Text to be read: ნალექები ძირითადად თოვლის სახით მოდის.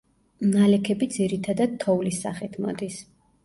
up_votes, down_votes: 1, 2